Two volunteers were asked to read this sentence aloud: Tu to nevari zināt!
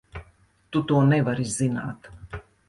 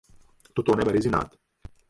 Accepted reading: first